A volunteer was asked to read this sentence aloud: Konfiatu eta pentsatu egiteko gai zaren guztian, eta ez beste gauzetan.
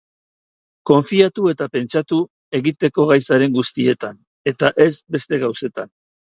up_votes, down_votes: 3, 3